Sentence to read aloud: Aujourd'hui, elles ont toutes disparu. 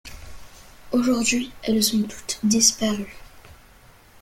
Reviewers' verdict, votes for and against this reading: accepted, 2, 1